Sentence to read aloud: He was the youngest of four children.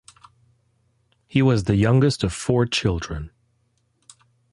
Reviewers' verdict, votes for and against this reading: accepted, 2, 0